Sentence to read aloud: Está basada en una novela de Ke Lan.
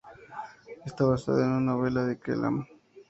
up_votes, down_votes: 2, 0